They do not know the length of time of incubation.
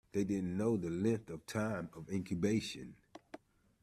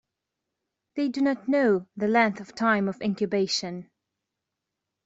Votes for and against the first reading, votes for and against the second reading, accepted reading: 1, 2, 2, 0, second